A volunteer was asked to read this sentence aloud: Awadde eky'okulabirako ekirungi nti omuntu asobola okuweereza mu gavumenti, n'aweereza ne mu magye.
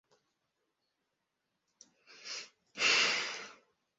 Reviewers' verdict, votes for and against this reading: rejected, 0, 2